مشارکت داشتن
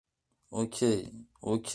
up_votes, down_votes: 0, 2